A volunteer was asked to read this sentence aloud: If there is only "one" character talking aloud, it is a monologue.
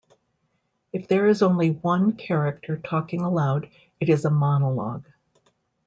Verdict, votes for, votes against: accepted, 2, 0